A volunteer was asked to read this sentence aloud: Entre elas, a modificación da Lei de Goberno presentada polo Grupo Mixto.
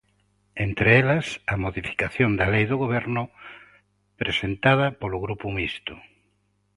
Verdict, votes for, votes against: rejected, 0, 2